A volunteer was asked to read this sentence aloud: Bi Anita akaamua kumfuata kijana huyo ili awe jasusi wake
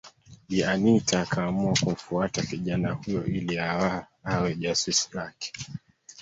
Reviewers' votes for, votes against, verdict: 1, 2, rejected